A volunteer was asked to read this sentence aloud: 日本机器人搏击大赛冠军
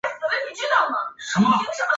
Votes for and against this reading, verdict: 0, 5, rejected